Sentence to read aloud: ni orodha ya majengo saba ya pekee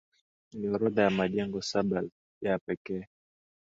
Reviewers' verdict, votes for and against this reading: accepted, 5, 0